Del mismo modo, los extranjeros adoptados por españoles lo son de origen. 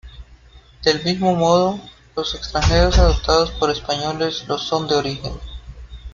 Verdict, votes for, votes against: accepted, 2, 0